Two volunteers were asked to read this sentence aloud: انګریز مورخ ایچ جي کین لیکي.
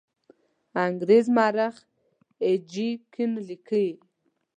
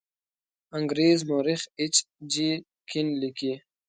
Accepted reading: second